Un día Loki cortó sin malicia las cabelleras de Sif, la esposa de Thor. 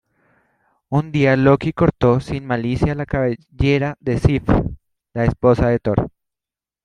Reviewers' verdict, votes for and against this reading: accepted, 2, 0